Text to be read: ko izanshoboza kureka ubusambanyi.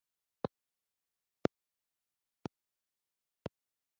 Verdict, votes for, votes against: accepted, 2, 0